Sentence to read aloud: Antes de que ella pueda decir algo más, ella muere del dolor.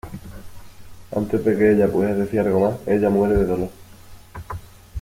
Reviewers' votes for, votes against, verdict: 2, 0, accepted